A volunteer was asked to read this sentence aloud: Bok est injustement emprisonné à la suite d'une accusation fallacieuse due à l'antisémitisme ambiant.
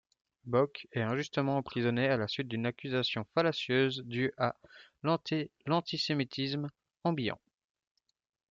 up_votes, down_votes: 1, 2